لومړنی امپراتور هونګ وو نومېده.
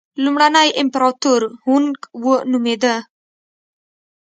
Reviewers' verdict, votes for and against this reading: accepted, 3, 0